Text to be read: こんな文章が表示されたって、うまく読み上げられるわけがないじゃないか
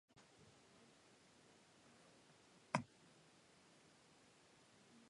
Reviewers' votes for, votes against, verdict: 3, 2, accepted